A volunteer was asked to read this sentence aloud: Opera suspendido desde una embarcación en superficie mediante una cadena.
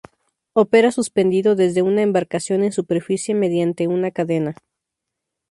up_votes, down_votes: 2, 0